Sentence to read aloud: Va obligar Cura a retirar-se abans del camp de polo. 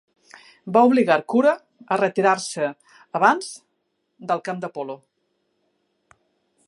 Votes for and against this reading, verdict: 3, 0, accepted